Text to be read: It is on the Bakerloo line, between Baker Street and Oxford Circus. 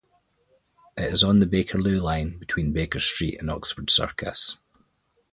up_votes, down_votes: 4, 0